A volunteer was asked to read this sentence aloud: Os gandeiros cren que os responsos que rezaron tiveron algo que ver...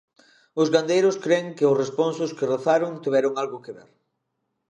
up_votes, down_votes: 1, 2